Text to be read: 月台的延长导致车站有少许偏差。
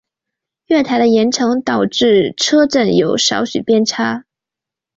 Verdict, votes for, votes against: accepted, 2, 0